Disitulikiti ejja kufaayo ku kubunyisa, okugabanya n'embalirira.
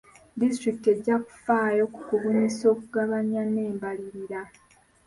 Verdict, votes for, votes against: rejected, 1, 2